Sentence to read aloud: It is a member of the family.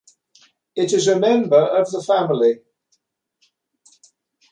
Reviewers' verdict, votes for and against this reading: accepted, 2, 0